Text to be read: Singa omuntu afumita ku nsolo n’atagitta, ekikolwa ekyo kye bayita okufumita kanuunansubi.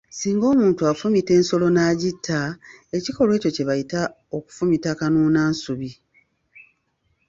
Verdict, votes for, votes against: accepted, 3, 1